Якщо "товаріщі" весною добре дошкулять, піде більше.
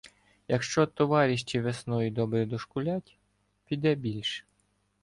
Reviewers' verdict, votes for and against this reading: rejected, 1, 2